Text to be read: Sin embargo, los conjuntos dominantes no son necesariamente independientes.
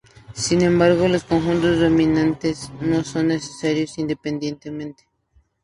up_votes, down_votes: 2, 2